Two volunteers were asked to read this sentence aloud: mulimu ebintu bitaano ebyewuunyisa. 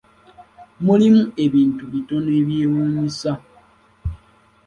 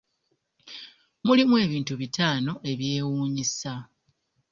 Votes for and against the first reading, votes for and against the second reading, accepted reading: 1, 3, 2, 0, second